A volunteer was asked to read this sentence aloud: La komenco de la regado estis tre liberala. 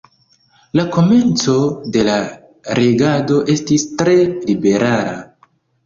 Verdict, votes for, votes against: accepted, 2, 1